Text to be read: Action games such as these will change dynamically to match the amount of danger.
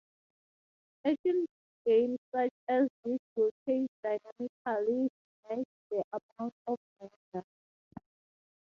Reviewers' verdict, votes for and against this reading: rejected, 0, 3